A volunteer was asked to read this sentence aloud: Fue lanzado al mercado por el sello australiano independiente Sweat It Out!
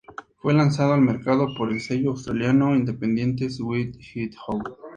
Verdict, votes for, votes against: rejected, 0, 2